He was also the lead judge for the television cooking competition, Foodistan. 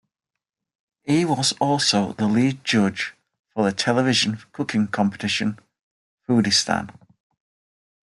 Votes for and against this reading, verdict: 2, 0, accepted